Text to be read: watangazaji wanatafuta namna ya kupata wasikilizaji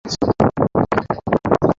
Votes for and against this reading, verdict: 0, 2, rejected